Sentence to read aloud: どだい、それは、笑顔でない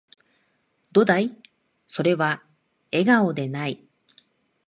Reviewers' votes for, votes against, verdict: 1, 2, rejected